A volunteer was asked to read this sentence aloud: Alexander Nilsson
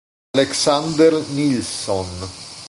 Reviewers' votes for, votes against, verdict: 1, 2, rejected